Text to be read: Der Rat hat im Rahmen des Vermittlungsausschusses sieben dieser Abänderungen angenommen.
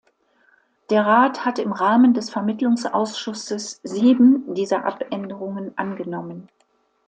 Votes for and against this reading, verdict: 2, 0, accepted